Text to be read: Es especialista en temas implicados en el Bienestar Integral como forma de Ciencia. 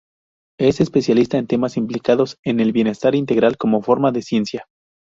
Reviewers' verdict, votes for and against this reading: rejected, 2, 2